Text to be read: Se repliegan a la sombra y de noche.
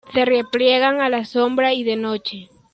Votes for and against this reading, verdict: 2, 0, accepted